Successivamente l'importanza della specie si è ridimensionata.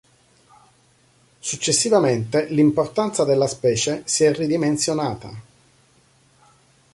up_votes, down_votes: 3, 0